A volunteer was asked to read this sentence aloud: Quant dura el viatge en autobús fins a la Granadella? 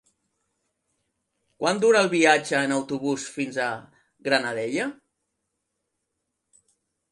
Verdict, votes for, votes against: rejected, 0, 2